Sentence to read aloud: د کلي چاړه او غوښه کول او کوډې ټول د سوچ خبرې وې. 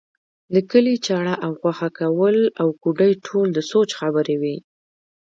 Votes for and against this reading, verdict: 1, 2, rejected